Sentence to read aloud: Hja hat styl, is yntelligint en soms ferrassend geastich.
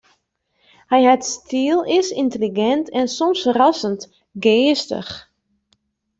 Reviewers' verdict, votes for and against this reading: rejected, 1, 2